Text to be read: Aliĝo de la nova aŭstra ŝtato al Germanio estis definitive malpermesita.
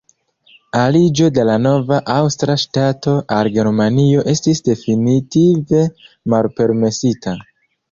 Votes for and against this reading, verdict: 0, 2, rejected